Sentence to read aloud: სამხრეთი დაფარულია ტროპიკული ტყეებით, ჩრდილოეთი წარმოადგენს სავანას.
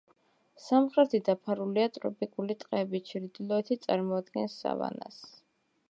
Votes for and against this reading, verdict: 2, 0, accepted